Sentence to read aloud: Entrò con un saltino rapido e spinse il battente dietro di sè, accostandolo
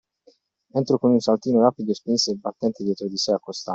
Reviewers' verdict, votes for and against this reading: rejected, 0, 2